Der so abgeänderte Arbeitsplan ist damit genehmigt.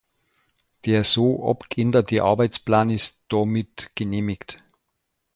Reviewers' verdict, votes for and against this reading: rejected, 0, 2